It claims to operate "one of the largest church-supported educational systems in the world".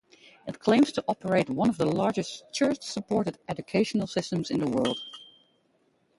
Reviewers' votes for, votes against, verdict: 0, 2, rejected